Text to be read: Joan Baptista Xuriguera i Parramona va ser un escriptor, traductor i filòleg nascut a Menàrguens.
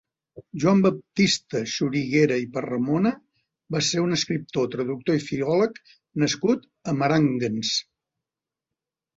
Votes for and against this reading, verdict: 0, 2, rejected